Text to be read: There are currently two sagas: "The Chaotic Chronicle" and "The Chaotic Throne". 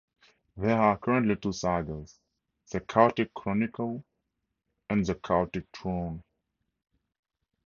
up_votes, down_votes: 2, 0